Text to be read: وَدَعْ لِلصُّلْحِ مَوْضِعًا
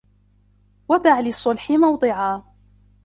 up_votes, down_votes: 2, 0